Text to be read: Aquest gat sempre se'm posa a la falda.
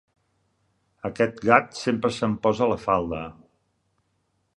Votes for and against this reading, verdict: 2, 0, accepted